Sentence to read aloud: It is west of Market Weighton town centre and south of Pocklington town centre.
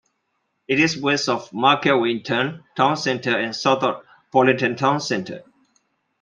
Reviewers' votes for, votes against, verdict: 1, 2, rejected